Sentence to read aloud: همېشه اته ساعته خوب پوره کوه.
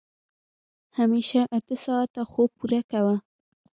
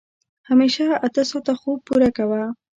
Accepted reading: second